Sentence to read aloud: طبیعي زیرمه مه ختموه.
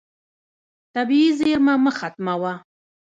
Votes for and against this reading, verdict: 0, 2, rejected